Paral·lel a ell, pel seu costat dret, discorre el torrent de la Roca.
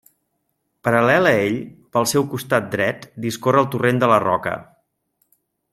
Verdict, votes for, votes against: rejected, 1, 2